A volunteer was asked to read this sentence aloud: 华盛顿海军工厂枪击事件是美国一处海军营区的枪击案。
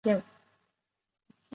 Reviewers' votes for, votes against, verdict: 1, 3, rejected